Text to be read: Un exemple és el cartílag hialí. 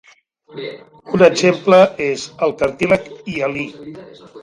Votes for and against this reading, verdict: 2, 1, accepted